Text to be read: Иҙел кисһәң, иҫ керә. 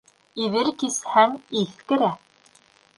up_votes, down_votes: 1, 2